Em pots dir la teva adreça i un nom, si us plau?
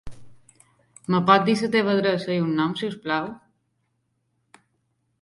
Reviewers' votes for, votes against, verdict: 2, 0, accepted